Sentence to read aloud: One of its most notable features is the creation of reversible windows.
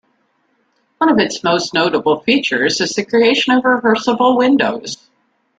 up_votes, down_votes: 2, 0